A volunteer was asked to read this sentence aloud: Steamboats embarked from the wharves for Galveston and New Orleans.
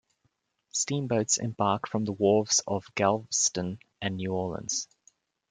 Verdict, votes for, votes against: rejected, 0, 2